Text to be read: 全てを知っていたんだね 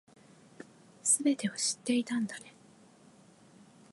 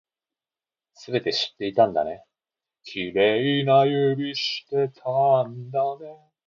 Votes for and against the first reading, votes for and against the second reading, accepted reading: 2, 0, 0, 2, first